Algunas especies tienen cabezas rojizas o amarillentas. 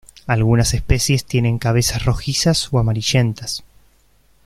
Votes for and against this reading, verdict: 1, 2, rejected